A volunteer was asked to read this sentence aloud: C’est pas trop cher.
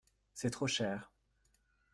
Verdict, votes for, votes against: rejected, 0, 2